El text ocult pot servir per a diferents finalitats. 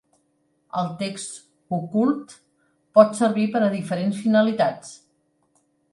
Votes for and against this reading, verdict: 3, 0, accepted